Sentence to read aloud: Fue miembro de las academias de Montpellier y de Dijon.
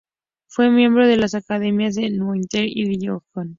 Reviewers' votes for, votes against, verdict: 2, 2, rejected